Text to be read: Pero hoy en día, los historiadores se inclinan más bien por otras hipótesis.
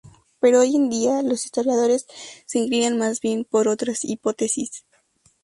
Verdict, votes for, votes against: accepted, 2, 0